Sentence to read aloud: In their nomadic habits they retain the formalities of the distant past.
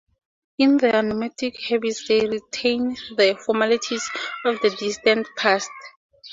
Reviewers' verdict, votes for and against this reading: accepted, 4, 0